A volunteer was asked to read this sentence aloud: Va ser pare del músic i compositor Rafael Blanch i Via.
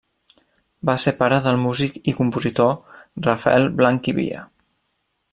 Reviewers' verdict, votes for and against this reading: accepted, 2, 0